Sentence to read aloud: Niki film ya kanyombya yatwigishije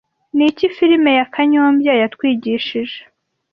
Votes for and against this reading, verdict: 2, 0, accepted